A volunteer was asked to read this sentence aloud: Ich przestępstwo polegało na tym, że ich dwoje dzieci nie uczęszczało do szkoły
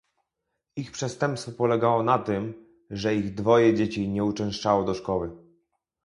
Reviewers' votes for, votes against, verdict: 0, 2, rejected